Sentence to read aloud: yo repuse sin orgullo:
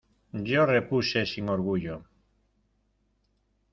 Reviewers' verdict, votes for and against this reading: accepted, 2, 0